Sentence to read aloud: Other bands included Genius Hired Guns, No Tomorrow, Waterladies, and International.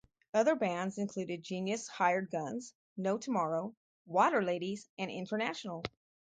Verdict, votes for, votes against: accepted, 2, 0